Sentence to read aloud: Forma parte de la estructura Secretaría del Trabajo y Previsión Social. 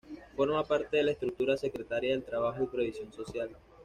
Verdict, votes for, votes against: accepted, 2, 0